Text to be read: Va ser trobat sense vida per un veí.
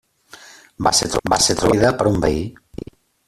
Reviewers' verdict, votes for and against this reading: rejected, 0, 2